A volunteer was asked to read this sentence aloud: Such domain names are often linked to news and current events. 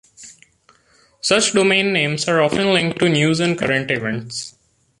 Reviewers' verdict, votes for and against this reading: accepted, 2, 0